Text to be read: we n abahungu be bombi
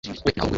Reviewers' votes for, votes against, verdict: 1, 2, rejected